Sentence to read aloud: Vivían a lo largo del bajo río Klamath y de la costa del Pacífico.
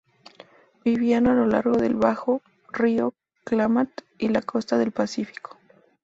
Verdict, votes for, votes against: accepted, 2, 0